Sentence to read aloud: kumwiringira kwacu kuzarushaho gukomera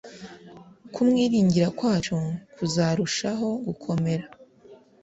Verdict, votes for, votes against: accepted, 2, 0